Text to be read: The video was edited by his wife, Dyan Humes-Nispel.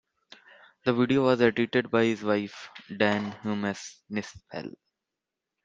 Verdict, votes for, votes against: accepted, 2, 0